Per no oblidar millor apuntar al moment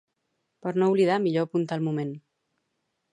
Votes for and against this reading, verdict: 0, 2, rejected